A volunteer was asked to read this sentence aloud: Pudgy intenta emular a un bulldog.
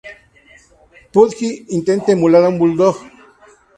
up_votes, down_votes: 2, 0